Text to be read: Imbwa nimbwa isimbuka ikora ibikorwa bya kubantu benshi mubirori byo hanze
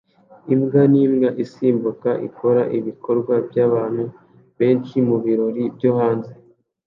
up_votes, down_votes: 2, 0